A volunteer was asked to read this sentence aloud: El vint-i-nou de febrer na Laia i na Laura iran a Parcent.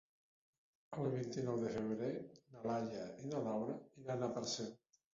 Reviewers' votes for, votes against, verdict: 4, 3, accepted